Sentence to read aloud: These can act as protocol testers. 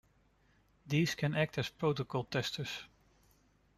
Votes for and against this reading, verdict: 3, 2, accepted